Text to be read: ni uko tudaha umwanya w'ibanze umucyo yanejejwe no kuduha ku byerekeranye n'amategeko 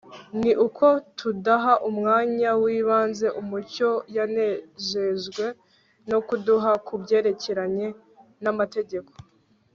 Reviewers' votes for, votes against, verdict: 3, 0, accepted